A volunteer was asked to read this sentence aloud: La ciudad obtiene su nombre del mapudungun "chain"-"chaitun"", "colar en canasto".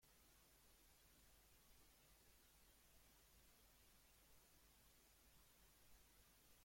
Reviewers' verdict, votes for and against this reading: rejected, 1, 2